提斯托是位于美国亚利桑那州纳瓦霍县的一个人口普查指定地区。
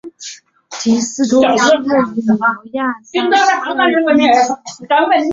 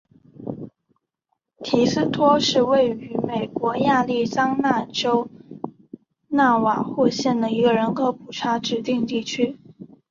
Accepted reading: second